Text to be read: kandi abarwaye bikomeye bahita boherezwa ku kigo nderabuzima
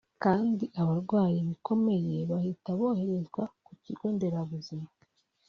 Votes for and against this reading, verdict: 2, 1, accepted